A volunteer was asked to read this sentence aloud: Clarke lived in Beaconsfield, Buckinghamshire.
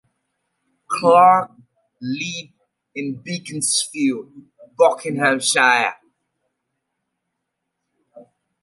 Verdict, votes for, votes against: accepted, 2, 0